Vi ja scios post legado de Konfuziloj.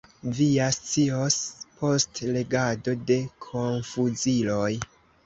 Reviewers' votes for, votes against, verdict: 2, 1, accepted